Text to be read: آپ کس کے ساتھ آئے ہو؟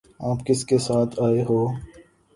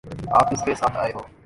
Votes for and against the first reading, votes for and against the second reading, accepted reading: 4, 0, 0, 2, first